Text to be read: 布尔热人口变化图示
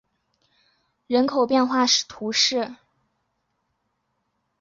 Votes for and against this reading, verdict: 1, 4, rejected